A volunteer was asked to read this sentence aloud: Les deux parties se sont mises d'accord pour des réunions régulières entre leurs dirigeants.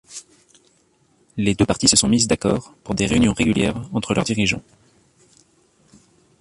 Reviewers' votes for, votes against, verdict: 2, 1, accepted